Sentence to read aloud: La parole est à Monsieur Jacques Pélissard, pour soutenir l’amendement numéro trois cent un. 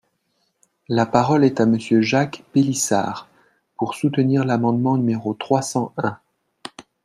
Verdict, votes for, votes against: accepted, 2, 0